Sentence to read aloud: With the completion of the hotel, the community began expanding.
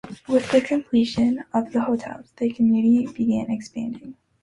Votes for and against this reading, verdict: 2, 0, accepted